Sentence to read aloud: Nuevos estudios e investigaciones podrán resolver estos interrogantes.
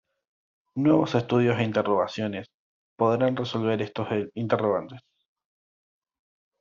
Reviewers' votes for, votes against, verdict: 1, 2, rejected